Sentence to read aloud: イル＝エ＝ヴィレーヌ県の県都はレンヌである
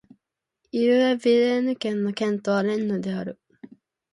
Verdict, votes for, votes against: accepted, 3, 0